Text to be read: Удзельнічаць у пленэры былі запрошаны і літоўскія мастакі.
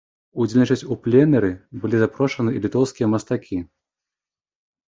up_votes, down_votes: 2, 1